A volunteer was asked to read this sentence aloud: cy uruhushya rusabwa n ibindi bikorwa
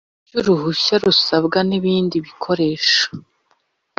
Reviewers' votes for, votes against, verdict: 0, 2, rejected